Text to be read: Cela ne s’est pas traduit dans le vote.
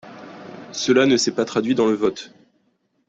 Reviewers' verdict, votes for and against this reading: accepted, 3, 0